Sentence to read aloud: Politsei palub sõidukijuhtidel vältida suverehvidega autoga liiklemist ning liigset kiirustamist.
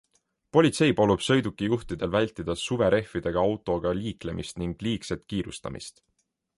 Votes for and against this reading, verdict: 2, 0, accepted